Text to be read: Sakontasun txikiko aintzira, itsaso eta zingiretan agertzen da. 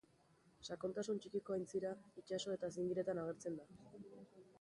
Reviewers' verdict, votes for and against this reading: rejected, 2, 2